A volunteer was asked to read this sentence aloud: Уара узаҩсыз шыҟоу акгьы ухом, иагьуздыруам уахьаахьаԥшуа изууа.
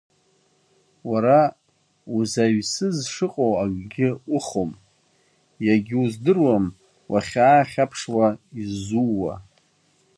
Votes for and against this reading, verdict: 3, 0, accepted